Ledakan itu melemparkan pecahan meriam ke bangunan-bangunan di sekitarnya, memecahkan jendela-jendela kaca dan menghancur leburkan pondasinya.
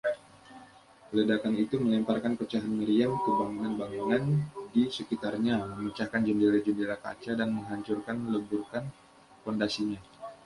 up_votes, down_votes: 1, 2